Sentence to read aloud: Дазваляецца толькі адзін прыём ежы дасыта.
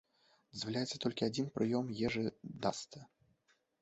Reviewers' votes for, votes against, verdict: 1, 2, rejected